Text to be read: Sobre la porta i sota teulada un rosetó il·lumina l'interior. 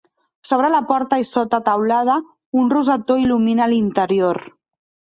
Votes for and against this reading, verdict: 2, 0, accepted